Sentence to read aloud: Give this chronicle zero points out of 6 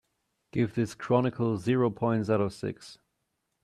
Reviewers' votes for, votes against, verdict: 0, 2, rejected